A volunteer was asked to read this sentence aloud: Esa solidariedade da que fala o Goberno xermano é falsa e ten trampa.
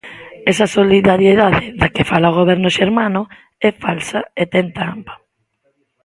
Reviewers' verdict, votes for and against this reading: accepted, 2, 0